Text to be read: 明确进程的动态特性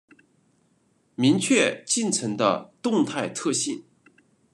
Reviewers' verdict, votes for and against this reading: accepted, 2, 0